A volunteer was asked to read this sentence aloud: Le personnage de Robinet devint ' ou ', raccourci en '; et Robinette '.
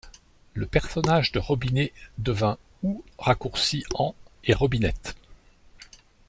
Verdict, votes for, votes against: accepted, 2, 0